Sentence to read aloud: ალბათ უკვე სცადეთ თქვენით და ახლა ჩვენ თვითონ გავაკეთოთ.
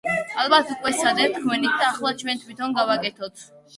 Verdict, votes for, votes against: accepted, 2, 0